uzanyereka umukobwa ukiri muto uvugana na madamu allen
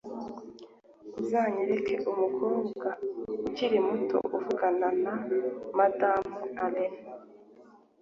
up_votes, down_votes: 2, 0